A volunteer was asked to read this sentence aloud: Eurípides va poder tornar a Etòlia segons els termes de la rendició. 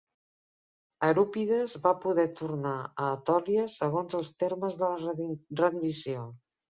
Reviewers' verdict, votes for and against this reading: rejected, 0, 2